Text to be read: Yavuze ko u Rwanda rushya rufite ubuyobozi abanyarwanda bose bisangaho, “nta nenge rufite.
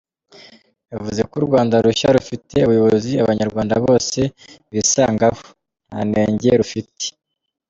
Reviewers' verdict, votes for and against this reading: accepted, 2, 0